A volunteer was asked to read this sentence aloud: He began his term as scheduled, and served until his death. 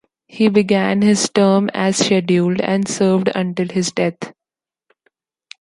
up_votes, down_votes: 2, 0